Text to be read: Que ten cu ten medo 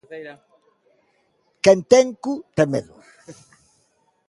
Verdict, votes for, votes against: rejected, 0, 2